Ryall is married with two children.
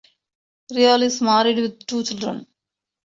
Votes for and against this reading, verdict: 2, 1, accepted